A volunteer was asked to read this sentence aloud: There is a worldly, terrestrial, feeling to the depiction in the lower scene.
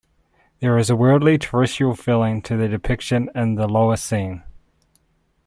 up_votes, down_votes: 1, 2